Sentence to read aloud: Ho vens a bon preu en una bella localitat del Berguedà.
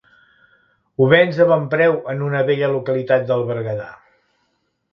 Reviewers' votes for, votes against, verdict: 2, 0, accepted